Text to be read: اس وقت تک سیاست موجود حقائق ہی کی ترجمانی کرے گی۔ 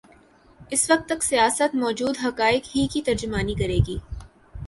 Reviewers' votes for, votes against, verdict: 3, 1, accepted